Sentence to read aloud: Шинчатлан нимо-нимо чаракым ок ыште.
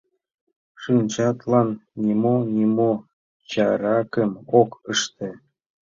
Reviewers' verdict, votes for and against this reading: accepted, 2, 1